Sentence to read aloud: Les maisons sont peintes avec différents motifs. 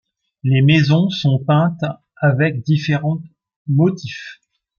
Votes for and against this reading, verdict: 2, 0, accepted